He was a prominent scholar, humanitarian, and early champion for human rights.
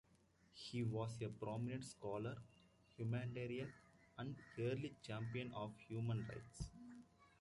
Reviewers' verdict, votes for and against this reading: rejected, 0, 2